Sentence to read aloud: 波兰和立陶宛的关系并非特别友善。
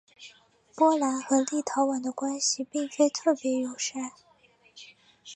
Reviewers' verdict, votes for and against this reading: accepted, 5, 0